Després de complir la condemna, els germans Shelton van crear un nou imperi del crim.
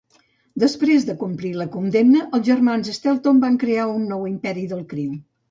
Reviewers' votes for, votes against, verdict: 2, 0, accepted